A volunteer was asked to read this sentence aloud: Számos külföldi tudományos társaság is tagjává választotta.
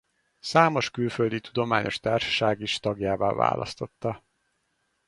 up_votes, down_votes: 2, 0